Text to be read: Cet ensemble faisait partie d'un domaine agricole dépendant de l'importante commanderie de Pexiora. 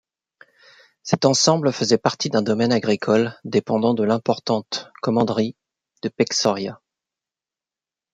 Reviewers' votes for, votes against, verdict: 0, 2, rejected